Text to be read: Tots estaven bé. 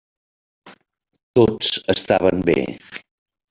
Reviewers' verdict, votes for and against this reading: rejected, 0, 2